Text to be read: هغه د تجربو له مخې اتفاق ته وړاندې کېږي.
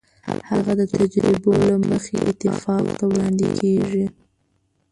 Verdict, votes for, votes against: rejected, 1, 2